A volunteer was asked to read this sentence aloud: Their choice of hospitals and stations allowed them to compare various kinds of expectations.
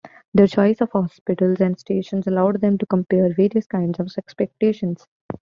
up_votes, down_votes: 2, 0